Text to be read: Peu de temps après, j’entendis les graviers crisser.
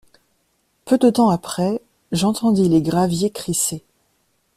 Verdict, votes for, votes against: accepted, 2, 0